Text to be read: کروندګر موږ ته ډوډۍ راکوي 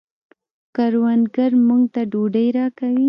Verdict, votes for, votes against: rejected, 1, 2